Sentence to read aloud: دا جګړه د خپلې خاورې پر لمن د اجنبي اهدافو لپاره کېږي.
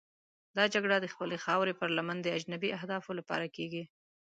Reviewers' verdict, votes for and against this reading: rejected, 1, 2